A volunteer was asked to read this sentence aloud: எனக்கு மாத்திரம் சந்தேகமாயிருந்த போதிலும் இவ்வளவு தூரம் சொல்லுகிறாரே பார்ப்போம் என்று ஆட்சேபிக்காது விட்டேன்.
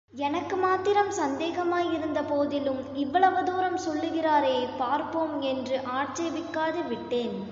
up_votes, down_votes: 2, 0